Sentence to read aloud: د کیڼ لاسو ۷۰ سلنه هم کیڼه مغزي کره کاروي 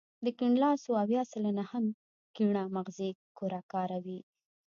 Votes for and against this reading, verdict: 0, 2, rejected